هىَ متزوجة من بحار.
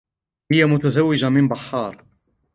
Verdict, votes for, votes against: accepted, 2, 0